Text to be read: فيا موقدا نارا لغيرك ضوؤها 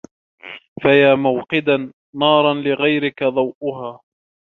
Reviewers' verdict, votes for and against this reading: rejected, 0, 2